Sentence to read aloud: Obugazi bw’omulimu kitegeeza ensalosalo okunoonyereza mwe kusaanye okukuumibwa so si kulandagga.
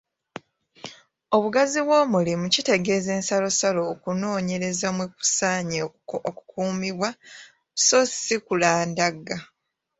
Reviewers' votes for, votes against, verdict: 2, 0, accepted